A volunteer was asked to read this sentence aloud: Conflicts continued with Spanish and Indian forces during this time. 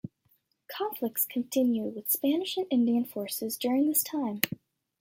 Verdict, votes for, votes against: accepted, 2, 0